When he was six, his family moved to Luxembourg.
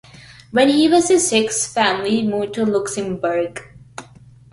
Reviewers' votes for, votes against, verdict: 0, 2, rejected